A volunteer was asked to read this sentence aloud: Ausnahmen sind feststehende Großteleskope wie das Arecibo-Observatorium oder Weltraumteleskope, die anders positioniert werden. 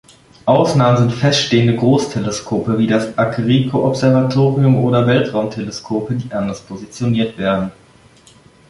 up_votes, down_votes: 2, 0